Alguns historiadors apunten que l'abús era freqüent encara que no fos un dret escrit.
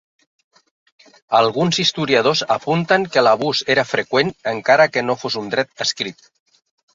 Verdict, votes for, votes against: accepted, 2, 0